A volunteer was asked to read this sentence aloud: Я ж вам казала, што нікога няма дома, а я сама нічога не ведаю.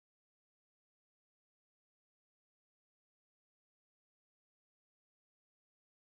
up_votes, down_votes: 0, 2